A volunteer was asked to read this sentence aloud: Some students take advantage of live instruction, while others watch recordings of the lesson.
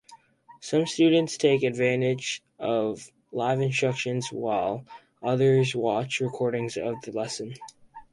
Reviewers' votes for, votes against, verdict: 2, 4, rejected